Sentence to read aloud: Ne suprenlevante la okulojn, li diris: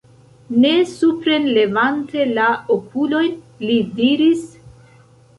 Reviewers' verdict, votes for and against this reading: accepted, 2, 0